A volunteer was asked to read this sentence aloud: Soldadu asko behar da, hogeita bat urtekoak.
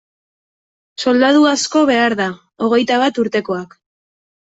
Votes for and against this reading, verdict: 2, 0, accepted